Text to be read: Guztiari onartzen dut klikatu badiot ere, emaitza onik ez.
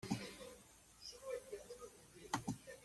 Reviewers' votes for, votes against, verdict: 1, 2, rejected